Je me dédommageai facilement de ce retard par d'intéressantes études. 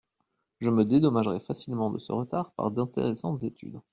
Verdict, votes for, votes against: rejected, 1, 2